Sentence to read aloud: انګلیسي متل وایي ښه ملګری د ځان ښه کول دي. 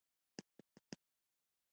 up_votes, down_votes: 0, 2